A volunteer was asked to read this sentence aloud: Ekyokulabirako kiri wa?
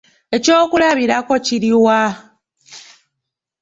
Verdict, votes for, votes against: rejected, 1, 2